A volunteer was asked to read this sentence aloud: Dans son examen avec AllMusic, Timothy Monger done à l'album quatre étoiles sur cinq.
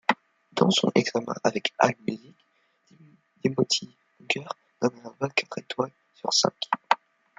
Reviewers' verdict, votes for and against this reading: rejected, 0, 2